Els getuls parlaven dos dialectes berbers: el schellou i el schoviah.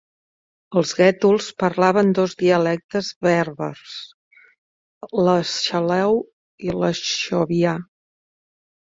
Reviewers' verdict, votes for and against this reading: rejected, 0, 2